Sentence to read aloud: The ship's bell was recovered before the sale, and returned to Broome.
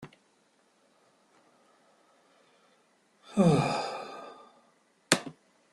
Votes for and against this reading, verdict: 0, 2, rejected